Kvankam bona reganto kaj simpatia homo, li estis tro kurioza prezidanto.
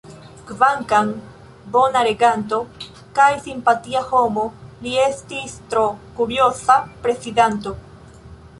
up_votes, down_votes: 1, 2